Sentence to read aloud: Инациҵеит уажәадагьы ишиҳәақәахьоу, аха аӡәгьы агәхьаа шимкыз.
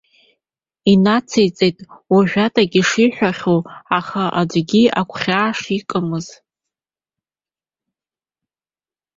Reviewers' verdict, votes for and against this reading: rejected, 1, 2